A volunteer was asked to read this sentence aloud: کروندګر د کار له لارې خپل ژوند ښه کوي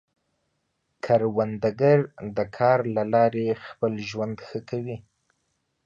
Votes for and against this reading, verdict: 2, 1, accepted